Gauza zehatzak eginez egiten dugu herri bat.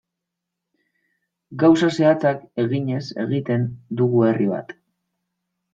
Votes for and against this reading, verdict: 1, 2, rejected